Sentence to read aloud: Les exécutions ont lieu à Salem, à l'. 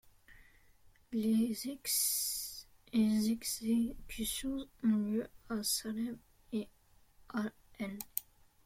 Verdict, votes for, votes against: rejected, 0, 2